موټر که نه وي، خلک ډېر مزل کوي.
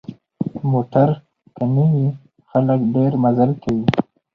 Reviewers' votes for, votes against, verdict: 2, 0, accepted